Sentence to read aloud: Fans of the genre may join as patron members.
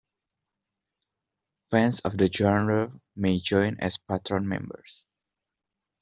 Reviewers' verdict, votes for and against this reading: accepted, 2, 0